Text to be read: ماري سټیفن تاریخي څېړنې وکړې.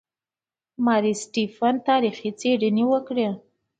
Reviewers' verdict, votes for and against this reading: accepted, 2, 0